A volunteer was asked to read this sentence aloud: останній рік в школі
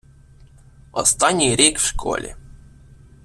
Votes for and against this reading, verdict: 2, 0, accepted